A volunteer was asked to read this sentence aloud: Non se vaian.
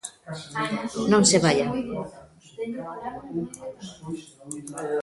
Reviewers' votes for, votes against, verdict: 1, 2, rejected